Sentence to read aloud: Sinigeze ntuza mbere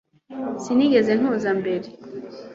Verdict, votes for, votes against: accepted, 2, 0